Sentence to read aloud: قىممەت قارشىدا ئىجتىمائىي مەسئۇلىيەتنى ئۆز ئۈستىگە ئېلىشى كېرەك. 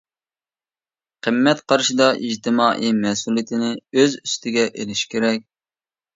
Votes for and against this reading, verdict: 0, 2, rejected